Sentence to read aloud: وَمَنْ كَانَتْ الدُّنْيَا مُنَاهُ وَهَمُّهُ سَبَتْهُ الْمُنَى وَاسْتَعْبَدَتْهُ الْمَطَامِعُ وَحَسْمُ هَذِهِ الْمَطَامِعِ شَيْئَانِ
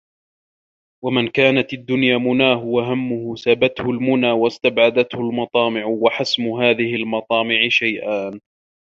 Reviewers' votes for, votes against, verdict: 2, 1, accepted